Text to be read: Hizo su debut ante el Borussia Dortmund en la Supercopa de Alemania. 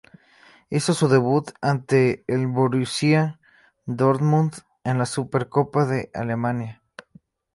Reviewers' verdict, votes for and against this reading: rejected, 0, 2